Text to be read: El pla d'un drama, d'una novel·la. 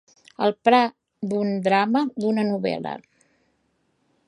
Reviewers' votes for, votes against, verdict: 1, 2, rejected